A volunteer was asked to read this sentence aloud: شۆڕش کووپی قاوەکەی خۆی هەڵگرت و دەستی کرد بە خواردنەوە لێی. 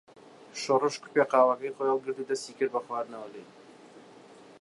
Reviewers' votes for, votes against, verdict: 2, 0, accepted